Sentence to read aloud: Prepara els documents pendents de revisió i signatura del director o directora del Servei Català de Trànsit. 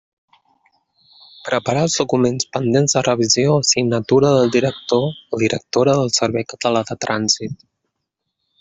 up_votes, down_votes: 2, 1